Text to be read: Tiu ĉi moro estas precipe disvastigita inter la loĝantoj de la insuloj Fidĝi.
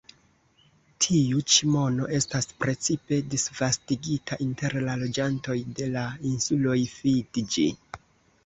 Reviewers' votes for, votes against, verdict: 1, 2, rejected